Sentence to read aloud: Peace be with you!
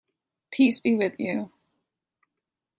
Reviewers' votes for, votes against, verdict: 2, 0, accepted